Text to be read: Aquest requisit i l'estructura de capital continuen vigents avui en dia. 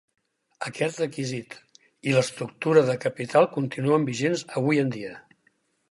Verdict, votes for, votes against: accepted, 6, 0